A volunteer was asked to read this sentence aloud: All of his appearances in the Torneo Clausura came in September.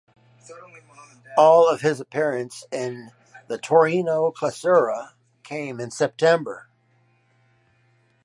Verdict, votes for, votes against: rejected, 2, 4